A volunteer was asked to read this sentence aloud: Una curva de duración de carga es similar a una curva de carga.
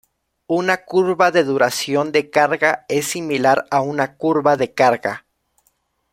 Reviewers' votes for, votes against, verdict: 2, 0, accepted